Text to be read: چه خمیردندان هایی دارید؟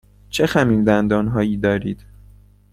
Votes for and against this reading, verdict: 2, 0, accepted